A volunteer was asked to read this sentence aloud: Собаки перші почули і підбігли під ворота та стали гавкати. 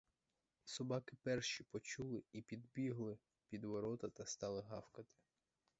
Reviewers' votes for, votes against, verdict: 4, 6, rejected